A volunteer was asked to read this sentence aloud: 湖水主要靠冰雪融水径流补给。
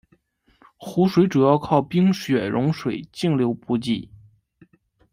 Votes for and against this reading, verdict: 1, 2, rejected